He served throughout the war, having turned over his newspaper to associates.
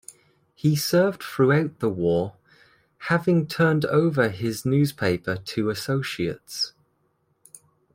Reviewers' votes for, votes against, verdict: 2, 0, accepted